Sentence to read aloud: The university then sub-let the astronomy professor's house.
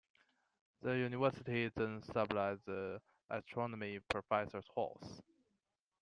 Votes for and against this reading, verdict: 1, 2, rejected